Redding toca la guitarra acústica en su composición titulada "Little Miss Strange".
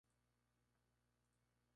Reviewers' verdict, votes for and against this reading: rejected, 0, 2